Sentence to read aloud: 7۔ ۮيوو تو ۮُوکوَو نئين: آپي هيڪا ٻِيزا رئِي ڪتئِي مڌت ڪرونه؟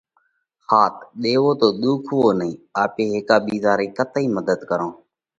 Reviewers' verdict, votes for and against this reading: rejected, 0, 2